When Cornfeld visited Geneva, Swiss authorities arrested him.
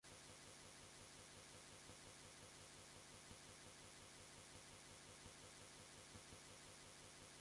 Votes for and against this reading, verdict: 0, 2, rejected